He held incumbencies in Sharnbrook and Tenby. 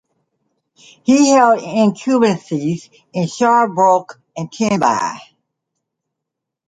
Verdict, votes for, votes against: accepted, 2, 0